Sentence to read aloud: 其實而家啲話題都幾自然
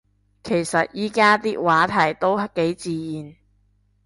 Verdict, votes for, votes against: rejected, 1, 2